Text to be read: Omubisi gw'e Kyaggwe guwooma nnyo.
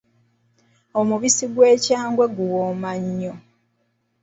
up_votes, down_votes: 0, 2